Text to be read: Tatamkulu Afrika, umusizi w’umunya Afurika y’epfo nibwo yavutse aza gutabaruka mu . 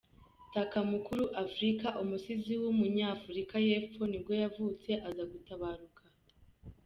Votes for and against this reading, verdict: 0, 2, rejected